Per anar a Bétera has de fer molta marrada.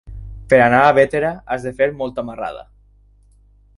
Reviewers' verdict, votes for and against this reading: accepted, 6, 0